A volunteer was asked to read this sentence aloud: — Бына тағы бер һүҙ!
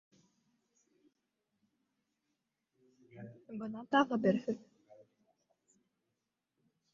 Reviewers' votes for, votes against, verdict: 0, 2, rejected